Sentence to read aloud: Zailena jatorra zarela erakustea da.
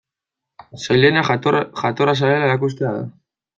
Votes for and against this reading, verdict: 0, 2, rejected